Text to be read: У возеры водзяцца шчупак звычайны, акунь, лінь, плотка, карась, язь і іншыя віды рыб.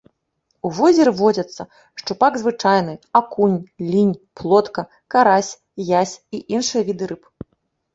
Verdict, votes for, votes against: accepted, 2, 0